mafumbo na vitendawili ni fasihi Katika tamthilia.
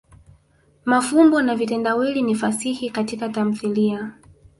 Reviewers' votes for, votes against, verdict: 2, 1, accepted